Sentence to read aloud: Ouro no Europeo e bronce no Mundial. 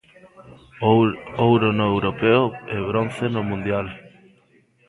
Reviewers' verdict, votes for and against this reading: rejected, 0, 2